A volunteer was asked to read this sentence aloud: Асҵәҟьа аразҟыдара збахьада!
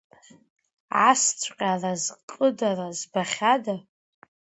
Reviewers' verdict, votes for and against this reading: accepted, 2, 0